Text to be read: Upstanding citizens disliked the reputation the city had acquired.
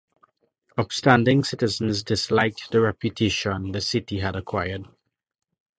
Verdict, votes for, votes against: accepted, 2, 0